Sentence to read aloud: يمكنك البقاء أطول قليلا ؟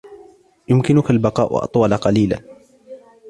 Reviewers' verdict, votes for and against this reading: accepted, 2, 0